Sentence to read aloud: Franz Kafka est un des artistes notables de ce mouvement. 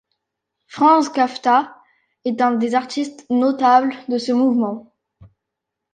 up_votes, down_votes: 0, 2